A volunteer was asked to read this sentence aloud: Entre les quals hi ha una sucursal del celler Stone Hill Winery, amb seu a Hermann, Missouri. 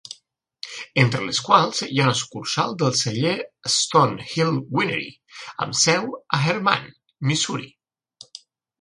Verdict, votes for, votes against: accepted, 3, 1